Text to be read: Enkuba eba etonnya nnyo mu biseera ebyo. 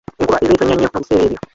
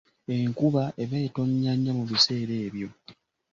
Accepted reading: second